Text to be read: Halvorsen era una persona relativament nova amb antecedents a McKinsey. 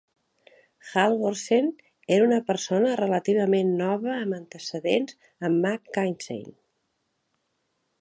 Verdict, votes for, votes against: rejected, 1, 2